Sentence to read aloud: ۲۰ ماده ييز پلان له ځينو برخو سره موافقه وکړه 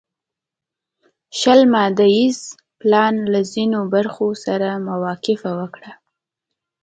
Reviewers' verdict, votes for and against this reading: rejected, 0, 2